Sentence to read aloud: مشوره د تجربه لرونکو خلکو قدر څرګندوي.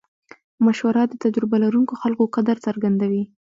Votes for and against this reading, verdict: 2, 0, accepted